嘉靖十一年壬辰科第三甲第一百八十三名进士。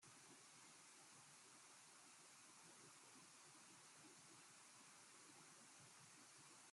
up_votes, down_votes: 0, 2